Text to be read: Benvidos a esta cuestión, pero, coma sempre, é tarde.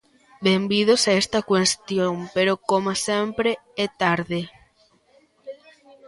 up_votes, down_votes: 2, 0